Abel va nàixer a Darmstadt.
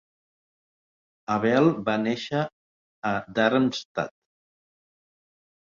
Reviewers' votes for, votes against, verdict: 4, 2, accepted